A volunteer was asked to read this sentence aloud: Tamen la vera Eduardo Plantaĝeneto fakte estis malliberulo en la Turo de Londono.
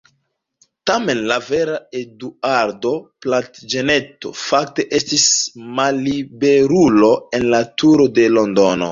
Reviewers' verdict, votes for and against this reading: accepted, 2, 1